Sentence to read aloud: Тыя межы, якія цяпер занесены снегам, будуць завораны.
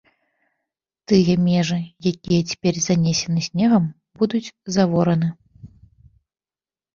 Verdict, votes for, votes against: accepted, 2, 0